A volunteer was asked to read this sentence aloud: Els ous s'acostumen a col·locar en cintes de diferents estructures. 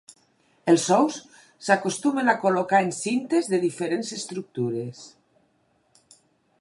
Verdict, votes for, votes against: accepted, 4, 0